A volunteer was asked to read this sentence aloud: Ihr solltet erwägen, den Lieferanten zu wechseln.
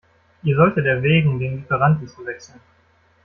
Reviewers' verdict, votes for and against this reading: rejected, 0, 2